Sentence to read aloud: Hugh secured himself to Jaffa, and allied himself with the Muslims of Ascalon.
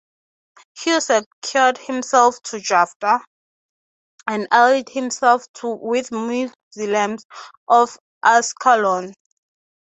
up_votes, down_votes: 6, 0